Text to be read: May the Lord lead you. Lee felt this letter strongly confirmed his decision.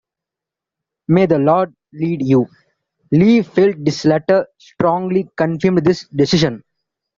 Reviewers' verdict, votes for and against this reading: accepted, 2, 1